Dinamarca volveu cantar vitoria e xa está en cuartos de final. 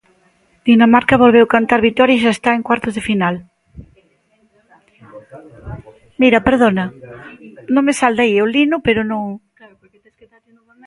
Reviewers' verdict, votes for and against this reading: rejected, 1, 2